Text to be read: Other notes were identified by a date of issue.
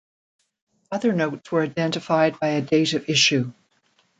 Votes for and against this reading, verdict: 1, 2, rejected